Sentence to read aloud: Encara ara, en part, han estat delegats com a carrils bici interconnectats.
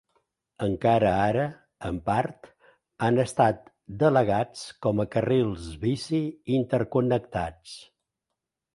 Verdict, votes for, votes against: accepted, 2, 0